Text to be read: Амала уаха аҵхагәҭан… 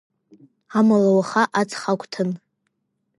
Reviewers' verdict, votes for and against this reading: accepted, 2, 0